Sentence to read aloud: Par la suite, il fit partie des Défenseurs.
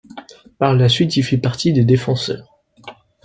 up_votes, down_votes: 2, 0